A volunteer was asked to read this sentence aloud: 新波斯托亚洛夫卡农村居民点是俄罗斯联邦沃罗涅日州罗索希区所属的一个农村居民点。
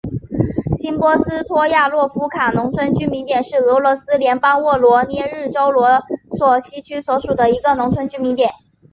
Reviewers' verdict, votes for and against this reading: accepted, 4, 0